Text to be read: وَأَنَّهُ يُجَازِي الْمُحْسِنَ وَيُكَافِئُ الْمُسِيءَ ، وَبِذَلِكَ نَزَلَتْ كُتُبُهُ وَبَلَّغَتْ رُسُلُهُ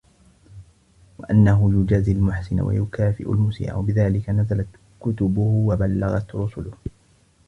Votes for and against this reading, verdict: 0, 2, rejected